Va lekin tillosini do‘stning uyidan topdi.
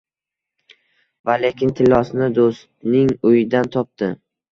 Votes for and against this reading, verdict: 2, 0, accepted